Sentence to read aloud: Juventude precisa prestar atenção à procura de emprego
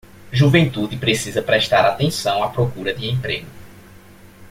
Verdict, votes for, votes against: accepted, 2, 0